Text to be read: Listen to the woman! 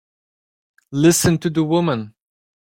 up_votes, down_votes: 2, 0